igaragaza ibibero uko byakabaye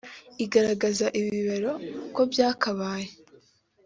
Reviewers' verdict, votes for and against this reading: accepted, 2, 0